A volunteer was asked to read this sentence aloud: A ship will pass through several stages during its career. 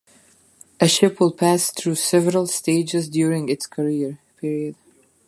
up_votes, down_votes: 2, 1